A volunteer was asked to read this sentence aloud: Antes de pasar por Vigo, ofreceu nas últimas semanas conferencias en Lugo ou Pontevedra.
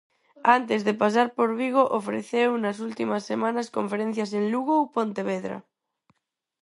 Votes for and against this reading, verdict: 6, 0, accepted